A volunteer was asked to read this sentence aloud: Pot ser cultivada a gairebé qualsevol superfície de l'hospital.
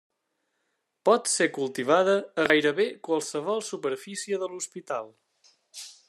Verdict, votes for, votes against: accepted, 3, 0